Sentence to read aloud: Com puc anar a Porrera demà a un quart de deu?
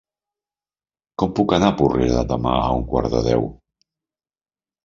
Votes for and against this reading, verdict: 2, 0, accepted